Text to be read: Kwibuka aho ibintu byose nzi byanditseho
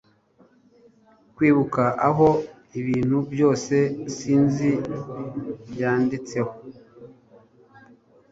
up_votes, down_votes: 2, 3